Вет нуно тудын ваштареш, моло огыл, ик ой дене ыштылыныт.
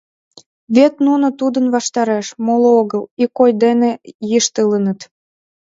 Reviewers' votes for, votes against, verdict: 1, 2, rejected